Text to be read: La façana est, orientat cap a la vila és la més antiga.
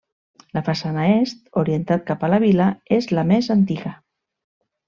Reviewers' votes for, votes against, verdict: 3, 0, accepted